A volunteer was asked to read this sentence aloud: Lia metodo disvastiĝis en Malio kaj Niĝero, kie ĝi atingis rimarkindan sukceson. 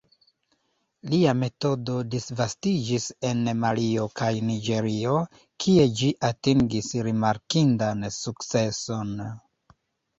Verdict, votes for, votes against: rejected, 1, 2